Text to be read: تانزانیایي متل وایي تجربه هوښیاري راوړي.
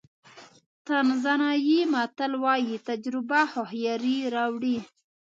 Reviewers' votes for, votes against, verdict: 1, 2, rejected